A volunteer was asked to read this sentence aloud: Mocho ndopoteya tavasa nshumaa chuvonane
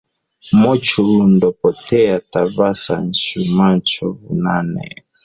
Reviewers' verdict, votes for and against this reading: rejected, 2, 3